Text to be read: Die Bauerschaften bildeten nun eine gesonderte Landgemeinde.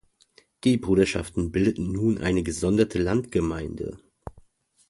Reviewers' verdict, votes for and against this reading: rejected, 0, 2